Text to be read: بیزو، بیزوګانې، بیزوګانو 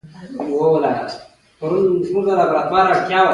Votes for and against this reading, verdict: 1, 2, rejected